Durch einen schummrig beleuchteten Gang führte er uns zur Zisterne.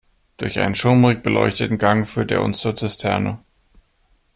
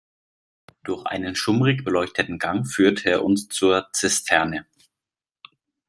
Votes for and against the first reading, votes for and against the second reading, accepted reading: 1, 2, 2, 0, second